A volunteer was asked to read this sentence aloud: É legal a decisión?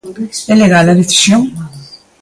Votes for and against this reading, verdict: 1, 2, rejected